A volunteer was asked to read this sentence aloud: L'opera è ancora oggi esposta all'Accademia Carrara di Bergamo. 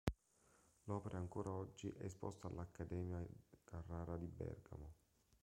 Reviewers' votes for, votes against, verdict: 0, 2, rejected